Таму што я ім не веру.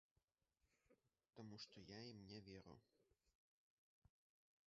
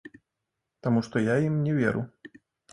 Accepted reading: second